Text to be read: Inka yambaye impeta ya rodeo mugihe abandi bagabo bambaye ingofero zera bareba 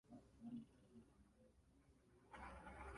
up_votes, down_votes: 0, 2